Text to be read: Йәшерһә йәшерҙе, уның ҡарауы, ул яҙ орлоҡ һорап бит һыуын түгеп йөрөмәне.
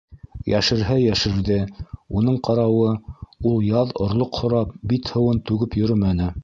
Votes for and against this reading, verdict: 2, 0, accepted